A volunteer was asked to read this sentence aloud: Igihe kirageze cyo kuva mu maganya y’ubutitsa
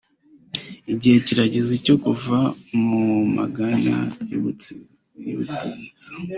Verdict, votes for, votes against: rejected, 1, 3